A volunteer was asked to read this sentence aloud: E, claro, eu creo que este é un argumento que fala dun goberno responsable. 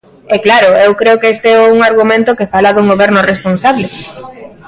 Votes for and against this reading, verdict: 1, 2, rejected